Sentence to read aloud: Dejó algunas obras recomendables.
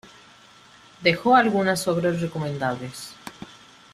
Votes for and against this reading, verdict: 2, 0, accepted